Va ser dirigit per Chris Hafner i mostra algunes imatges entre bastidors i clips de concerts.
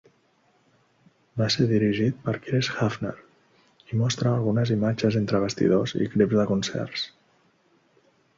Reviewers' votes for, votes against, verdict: 3, 0, accepted